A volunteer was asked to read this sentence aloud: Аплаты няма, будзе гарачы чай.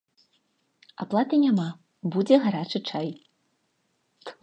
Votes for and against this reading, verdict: 2, 0, accepted